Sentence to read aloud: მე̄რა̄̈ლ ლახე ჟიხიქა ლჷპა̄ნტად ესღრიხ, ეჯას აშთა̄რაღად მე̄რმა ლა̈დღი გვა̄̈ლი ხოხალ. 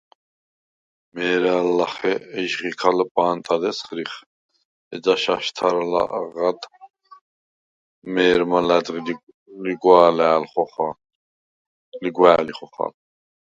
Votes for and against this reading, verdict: 0, 4, rejected